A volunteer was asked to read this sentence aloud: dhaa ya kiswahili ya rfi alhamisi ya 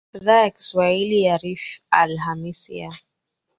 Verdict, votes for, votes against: accepted, 2, 0